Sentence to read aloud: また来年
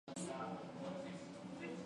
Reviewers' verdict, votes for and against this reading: rejected, 1, 2